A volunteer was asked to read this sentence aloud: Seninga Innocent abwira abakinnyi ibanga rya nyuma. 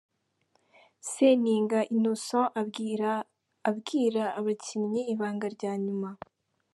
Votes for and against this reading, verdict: 1, 2, rejected